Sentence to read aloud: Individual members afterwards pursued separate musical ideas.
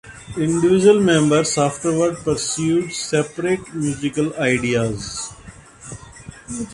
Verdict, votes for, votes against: rejected, 0, 2